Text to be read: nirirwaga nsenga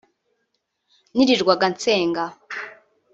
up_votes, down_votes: 1, 2